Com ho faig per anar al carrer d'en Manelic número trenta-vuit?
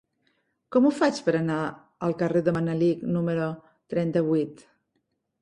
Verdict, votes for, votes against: rejected, 0, 3